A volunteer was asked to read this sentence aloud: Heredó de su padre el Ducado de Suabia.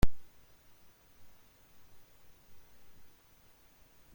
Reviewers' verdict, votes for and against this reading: rejected, 0, 2